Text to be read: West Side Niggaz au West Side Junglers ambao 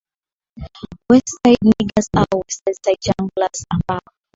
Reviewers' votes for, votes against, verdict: 0, 2, rejected